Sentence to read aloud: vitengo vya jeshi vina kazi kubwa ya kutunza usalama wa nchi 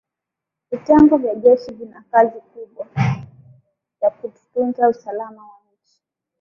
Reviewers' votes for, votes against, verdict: 1, 2, rejected